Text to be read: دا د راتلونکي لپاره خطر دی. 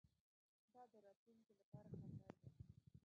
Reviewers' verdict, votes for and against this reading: rejected, 0, 2